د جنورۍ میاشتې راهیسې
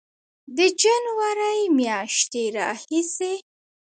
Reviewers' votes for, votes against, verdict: 2, 0, accepted